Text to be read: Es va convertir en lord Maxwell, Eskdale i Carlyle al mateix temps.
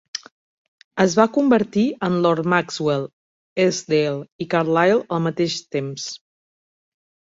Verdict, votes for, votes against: accepted, 2, 0